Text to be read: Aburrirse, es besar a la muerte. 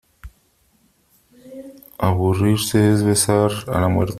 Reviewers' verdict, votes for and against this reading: rejected, 1, 2